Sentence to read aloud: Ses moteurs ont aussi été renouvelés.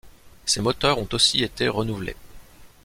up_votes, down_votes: 2, 0